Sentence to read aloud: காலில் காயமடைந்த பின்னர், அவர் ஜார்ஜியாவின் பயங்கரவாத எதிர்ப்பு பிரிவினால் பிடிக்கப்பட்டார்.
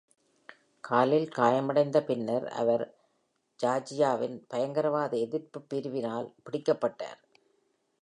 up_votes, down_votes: 2, 0